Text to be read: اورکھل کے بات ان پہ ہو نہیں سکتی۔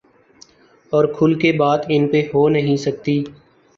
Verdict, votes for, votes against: accepted, 2, 0